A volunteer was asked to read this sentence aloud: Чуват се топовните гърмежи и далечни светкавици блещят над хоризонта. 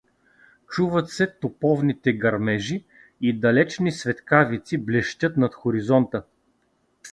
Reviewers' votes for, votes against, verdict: 2, 0, accepted